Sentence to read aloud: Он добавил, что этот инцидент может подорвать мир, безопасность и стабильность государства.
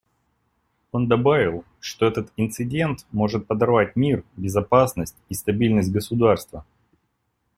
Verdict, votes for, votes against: accepted, 2, 0